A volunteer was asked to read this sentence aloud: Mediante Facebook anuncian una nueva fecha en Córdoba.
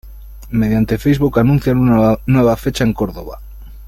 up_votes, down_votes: 0, 2